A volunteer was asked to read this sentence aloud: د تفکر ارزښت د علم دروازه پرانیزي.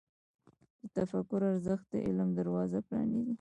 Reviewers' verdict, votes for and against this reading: rejected, 0, 2